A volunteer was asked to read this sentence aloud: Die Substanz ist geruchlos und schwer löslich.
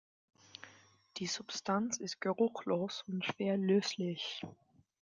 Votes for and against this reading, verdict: 2, 0, accepted